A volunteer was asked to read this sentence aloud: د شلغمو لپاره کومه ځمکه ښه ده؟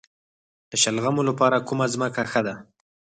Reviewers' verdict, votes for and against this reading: rejected, 2, 4